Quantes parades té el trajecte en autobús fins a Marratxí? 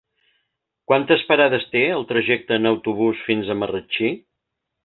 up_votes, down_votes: 3, 0